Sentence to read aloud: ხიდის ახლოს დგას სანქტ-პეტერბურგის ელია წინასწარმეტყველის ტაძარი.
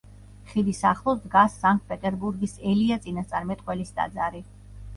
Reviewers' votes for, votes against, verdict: 2, 0, accepted